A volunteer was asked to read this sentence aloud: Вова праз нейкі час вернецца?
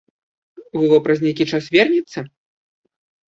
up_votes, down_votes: 2, 1